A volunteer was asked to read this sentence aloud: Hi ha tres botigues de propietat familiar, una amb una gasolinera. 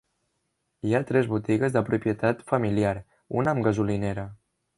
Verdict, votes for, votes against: accepted, 2, 1